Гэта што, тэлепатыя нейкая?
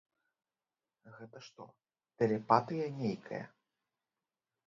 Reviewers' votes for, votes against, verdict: 1, 2, rejected